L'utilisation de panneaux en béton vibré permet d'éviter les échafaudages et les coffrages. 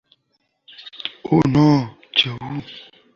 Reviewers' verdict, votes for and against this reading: rejected, 1, 2